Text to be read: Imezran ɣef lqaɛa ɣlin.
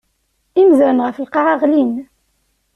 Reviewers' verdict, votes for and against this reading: accepted, 2, 0